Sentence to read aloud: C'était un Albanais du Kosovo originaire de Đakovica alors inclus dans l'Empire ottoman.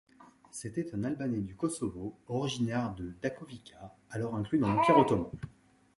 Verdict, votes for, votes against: rejected, 1, 2